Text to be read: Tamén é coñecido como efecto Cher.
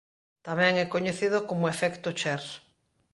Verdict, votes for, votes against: accepted, 2, 0